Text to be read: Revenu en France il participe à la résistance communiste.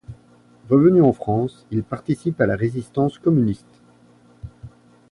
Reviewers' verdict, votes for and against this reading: accepted, 2, 0